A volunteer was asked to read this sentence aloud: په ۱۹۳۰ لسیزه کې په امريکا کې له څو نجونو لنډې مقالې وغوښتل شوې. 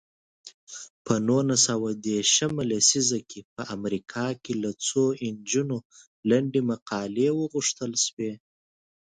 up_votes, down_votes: 0, 2